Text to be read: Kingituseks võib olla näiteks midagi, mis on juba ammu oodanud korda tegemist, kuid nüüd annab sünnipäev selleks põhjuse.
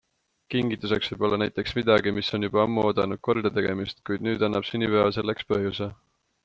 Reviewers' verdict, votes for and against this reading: accepted, 2, 0